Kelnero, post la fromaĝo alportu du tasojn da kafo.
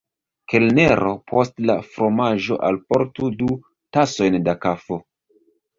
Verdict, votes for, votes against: accepted, 2, 1